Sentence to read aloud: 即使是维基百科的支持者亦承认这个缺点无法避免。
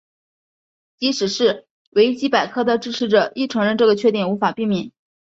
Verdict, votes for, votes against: accepted, 2, 0